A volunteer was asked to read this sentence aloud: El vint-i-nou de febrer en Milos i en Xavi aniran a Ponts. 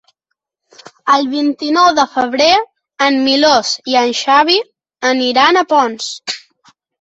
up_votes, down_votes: 1, 2